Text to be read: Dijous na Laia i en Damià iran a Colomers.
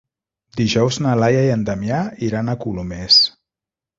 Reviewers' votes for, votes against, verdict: 1, 2, rejected